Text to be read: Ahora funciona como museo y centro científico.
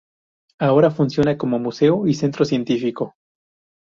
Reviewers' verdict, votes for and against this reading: accepted, 2, 0